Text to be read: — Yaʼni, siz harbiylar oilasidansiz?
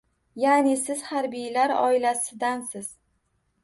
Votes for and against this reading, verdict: 2, 0, accepted